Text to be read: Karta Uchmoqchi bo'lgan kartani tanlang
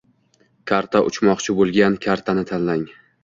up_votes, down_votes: 2, 1